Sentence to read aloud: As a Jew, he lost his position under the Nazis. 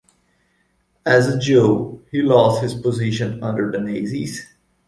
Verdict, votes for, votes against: rejected, 0, 2